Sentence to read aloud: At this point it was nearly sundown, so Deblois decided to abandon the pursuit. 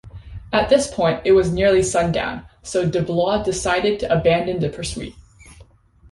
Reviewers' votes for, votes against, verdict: 2, 1, accepted